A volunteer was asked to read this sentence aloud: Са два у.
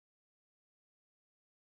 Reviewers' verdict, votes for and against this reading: rejected, 0, 2